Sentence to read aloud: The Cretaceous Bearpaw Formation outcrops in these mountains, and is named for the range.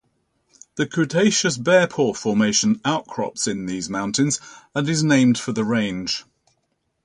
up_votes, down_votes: 0, 2